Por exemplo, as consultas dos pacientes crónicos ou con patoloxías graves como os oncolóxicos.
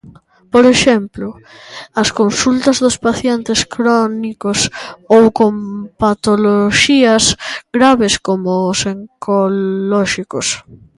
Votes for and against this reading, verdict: 2, 0, accepted